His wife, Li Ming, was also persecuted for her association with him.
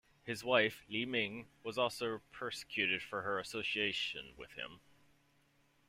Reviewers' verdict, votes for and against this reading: accepted, 2, 0